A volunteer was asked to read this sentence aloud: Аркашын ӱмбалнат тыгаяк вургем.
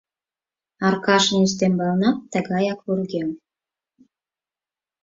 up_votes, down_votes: 0, 4